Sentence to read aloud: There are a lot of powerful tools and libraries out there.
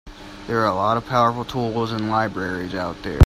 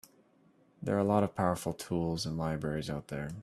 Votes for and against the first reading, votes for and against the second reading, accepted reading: 0, 2, 2, 0, second